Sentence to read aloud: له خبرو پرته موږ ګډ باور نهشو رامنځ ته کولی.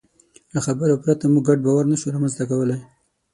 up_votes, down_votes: 6, 0